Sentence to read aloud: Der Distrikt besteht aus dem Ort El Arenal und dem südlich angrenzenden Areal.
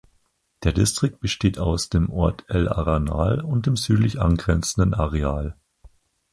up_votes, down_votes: 0, 4